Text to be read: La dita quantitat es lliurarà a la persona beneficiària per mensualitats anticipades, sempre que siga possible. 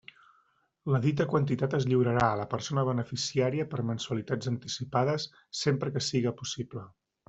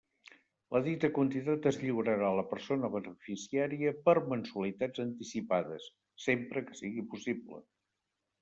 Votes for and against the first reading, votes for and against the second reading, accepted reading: 3, 0, 1, 3, first